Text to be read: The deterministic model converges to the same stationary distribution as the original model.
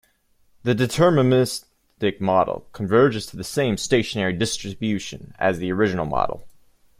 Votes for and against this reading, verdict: 1, 2, rejected